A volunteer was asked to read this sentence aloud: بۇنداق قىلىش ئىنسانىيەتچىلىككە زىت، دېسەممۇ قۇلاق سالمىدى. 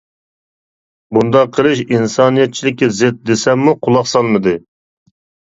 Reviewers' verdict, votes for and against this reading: accepted, 2, 0